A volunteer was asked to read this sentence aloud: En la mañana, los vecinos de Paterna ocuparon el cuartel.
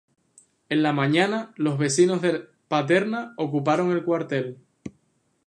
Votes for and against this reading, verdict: 0, 2, rejected